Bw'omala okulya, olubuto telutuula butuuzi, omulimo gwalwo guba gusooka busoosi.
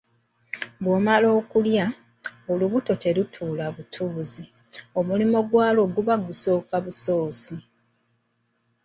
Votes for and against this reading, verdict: 1, 2, rejected